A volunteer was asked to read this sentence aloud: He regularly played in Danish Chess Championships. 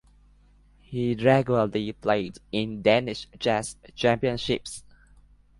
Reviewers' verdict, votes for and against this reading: accepted, 2, 0